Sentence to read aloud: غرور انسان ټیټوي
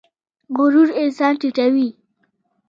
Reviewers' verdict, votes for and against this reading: accepted, 2, 0